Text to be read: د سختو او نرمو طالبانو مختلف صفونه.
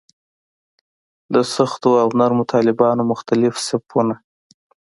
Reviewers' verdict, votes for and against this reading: accepted, 2, 0